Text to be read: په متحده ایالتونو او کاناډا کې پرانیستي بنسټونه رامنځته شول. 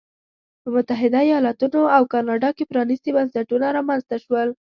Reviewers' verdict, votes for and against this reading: accepted, 2, 0